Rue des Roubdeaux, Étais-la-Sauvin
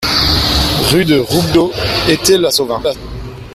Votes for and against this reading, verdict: 1, 2, rejected